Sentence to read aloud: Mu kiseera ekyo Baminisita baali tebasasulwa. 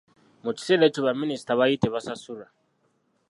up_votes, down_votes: 0, 2